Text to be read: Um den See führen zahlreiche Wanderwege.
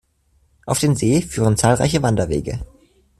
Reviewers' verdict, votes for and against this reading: rejected, 0, 2